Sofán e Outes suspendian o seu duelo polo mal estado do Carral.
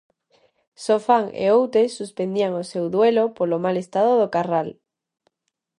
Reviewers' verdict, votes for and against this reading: accepted, 2, 0